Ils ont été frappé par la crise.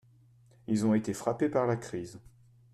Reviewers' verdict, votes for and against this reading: accepted, 2, 1